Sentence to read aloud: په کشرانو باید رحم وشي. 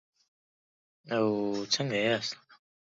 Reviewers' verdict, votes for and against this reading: rejected, 0, 2